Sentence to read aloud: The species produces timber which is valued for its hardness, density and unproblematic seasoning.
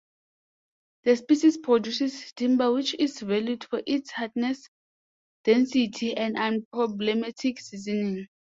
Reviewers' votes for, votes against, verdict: 2, 1, accepted